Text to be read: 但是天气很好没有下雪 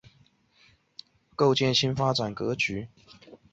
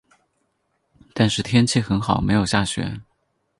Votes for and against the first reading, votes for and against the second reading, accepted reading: 0, 2, 4, 0, second